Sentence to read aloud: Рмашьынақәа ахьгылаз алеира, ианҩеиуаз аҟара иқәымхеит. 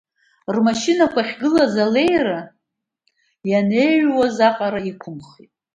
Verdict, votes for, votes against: rejected, 1, 2